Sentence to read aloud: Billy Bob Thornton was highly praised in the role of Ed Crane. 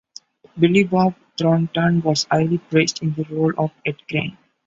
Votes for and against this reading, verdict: 0, 2, rejected